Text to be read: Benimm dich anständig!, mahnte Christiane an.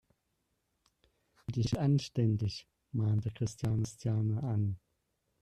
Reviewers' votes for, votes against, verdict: 0, 2, rejected